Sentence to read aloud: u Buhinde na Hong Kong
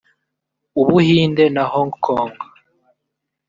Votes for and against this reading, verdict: 1, 2, rejected